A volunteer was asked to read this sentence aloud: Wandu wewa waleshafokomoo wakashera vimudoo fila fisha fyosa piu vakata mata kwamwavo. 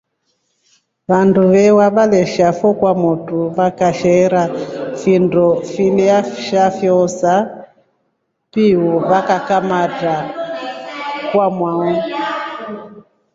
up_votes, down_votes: 2, 0